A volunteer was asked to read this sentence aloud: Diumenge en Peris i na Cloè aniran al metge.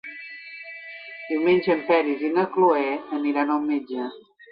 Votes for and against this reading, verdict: 3, 0, accepted